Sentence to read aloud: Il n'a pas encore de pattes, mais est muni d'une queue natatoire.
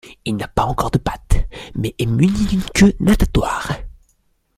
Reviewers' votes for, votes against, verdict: 2, 0, accepted